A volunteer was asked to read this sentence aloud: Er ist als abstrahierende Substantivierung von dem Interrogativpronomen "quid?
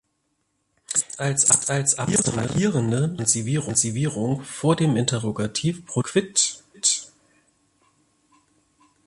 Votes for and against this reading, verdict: 0, 3, rejected